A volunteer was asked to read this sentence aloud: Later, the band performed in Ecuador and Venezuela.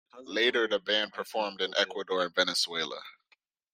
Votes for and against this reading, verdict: 3, 0, accepted